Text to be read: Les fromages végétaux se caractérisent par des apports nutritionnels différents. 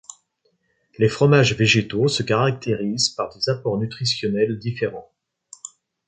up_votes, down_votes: 2, 0